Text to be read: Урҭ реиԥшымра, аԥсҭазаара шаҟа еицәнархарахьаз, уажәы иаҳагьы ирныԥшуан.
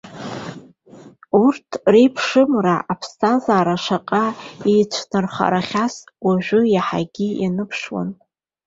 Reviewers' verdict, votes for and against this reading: rejected, 1, 2